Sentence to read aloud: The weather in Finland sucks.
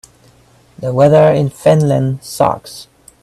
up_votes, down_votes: 2, 0